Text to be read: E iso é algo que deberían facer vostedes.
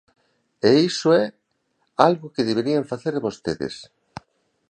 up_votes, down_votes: 2, 0